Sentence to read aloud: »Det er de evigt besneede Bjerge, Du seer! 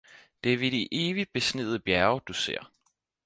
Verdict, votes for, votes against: rejected, 0, 4